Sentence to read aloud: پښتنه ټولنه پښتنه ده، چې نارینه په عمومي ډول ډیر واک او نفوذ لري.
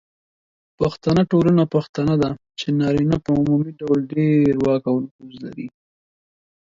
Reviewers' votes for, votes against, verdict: 2, 0, accepted